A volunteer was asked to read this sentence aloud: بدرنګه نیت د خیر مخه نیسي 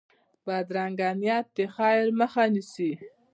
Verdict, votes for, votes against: rejected, 1, 2